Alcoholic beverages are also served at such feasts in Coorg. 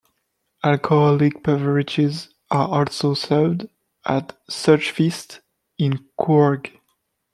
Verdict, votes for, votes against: accepted, 2, 0